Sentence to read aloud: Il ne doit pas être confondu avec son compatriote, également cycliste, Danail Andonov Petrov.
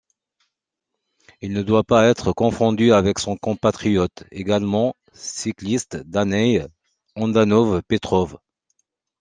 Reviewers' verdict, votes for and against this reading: accepted, 2, 0